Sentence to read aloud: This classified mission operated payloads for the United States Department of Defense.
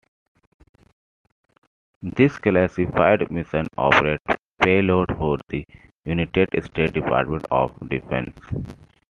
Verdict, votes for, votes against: rejected, 1, 2